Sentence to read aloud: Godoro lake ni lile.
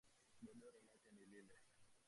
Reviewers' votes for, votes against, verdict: 0, 2, rejected